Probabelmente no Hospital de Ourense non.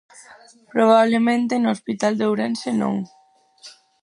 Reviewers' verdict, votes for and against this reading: rejected, 0, 4